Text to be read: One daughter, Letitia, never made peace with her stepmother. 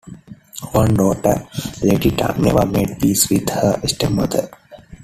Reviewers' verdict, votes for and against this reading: accepted, 2, 1